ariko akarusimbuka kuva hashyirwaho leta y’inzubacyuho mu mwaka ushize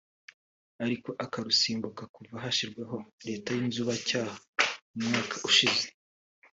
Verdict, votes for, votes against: rejected, 1, 2